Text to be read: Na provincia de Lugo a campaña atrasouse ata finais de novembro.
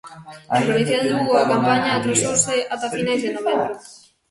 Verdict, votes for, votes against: rejected, 0, 2